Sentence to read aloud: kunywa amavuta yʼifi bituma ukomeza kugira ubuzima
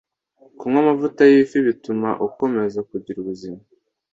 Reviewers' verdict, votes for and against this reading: accepted, 2, 0